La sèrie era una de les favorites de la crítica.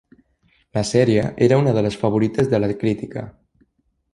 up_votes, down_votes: 3, 0